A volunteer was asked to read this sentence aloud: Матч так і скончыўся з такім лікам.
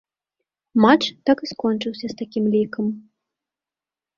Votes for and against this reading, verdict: 2, 0, accepted